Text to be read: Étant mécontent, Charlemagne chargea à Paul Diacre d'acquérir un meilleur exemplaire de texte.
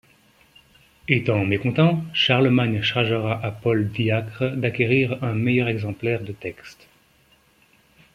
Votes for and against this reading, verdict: 0, 2, rejected